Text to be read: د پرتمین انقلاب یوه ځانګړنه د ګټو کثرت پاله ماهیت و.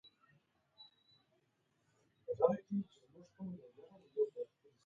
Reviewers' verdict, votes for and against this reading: rejected, 0, 2